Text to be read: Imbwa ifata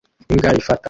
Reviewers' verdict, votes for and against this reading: rejected, 1, 2